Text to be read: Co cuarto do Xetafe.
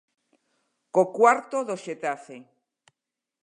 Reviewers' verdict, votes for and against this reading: accepted, 2, 0